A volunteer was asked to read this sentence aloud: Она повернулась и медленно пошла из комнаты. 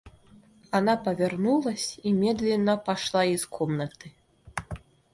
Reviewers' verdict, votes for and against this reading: accepted, 2, 0